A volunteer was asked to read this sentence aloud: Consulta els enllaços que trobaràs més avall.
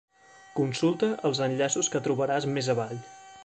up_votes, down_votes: 3, 1